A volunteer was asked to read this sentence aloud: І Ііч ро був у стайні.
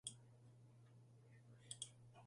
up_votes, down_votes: 0, 2